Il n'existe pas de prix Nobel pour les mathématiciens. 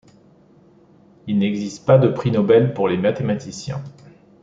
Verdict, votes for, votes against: accepted, 2, 0